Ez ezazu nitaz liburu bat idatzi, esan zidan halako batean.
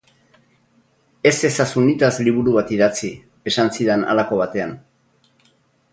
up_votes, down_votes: 2, 0